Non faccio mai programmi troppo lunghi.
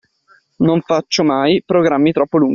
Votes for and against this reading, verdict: 2, 0, accepted